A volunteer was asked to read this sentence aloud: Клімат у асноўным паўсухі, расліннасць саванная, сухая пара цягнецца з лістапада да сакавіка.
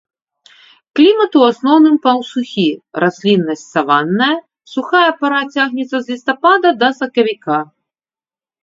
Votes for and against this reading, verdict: 2, 0, accepted